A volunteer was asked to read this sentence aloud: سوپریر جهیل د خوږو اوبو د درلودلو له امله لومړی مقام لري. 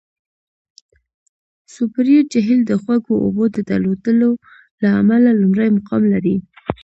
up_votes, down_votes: 2, 0